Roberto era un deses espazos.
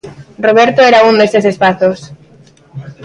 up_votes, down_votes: 2, 0